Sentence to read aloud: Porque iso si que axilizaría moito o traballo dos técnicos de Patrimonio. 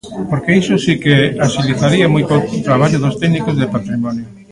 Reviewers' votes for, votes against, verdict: 1, 2, rejected